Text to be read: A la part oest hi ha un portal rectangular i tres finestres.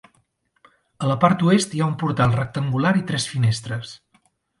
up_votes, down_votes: 2, 0